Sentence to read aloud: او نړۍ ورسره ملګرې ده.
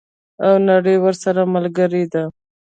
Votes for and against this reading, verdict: 2, 0, accepted